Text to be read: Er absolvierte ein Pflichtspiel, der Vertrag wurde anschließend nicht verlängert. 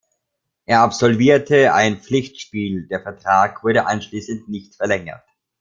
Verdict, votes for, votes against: rejected, 1, 2